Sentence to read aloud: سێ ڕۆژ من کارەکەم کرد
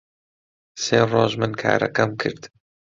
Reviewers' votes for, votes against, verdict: 2, 0, accepted